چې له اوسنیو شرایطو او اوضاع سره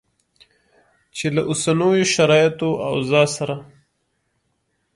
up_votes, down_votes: 2, 0